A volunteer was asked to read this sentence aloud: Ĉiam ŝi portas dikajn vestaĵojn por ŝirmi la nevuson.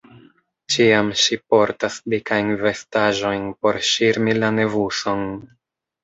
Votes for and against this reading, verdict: 1, 2, rejected